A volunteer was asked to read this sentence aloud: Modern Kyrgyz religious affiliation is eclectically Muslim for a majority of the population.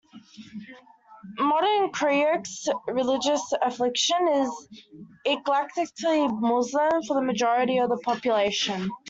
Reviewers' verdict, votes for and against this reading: accepted, 2, 1